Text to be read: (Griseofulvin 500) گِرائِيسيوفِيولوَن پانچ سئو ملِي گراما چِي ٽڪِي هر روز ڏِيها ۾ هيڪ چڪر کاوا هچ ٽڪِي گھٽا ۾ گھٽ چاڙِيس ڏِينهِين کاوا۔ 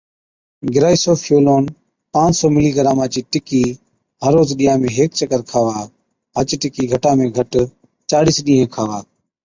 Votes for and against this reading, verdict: 0, 2, rejected